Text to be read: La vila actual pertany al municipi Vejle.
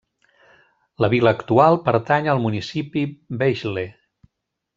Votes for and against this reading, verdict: 2, 0, accepted